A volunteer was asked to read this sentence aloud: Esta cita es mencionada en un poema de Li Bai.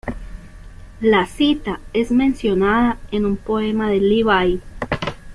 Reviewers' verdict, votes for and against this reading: rejected, 1, 2